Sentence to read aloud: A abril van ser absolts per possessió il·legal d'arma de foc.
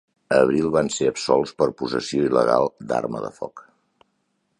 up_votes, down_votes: 3, 0